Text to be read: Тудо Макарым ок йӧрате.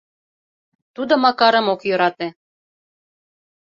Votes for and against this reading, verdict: 2, 0, accepted